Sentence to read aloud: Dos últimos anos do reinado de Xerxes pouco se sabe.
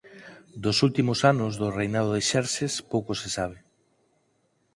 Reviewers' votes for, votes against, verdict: 4, 0, accepted